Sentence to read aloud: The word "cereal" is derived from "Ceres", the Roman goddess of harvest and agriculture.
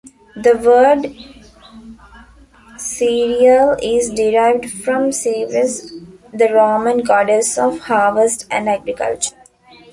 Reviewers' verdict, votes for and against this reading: accepted, 2, 1